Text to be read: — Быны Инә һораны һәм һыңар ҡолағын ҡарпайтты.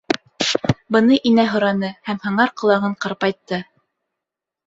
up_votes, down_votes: 3, 0